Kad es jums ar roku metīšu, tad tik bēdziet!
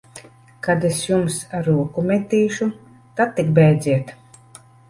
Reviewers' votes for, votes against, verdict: 3, 0, accepted